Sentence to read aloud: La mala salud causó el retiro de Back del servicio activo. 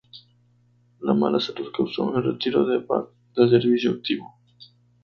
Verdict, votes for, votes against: rejected, 0, 2